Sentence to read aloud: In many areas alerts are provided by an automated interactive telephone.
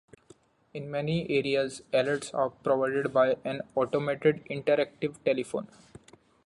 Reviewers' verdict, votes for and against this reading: accepted, 2, 0